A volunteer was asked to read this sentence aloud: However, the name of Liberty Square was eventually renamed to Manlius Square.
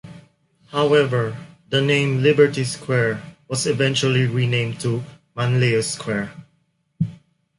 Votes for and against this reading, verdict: 1, 2, rejected